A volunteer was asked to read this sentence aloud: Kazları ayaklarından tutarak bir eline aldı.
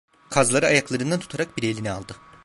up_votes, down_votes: 1, 2